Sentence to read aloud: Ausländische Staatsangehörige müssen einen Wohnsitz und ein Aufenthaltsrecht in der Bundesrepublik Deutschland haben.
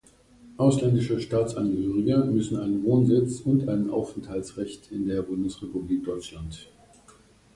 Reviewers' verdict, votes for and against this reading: rejected, 0, 2